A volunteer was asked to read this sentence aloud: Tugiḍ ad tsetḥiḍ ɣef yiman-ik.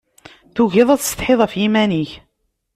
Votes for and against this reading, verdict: 2, 0, accepted